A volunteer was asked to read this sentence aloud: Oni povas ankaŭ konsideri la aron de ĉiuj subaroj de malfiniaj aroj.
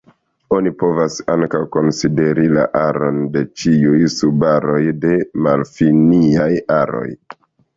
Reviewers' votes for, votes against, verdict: 2, 1, accepted